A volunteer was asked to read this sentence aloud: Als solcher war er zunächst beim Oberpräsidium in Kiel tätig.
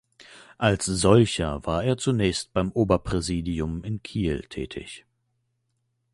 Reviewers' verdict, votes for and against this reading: accepted, 2, 0